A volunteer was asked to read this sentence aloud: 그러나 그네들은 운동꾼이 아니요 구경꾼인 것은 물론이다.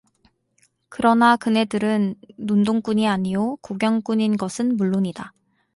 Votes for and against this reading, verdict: 4, 0, accepted